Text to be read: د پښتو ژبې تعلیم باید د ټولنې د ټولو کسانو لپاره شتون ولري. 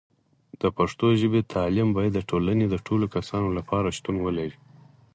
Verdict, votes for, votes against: accepted, 4, 0